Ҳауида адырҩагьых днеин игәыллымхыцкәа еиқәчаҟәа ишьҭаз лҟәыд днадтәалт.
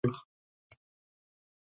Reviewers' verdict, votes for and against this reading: rejected, 0, 2